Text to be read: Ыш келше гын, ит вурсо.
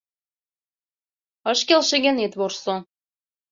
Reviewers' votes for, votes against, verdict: 2, 0, accepted